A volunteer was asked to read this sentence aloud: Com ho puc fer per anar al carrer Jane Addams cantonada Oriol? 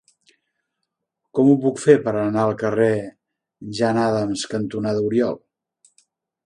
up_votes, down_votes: 2, 1